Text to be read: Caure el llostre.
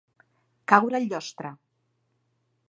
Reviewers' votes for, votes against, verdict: 2, 0, accepted